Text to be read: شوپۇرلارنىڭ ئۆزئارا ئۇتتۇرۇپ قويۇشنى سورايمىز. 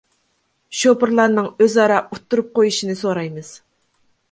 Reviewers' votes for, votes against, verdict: 2, 0, accepted